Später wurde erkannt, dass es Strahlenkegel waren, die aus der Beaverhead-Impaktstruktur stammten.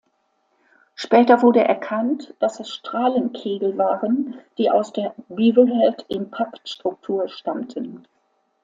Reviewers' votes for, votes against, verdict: 3, 0, accepted